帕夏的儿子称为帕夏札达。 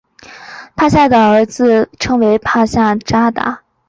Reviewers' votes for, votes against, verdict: 3, 0, accepted